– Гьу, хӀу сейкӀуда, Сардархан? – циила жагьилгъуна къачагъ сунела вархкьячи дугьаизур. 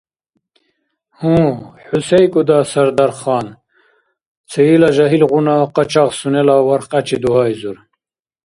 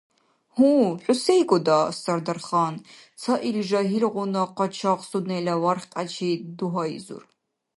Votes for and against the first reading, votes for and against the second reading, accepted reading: 2, 0, 1, 2, first